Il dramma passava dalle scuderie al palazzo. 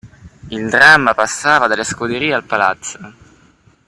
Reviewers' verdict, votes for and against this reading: accepted, 2, 0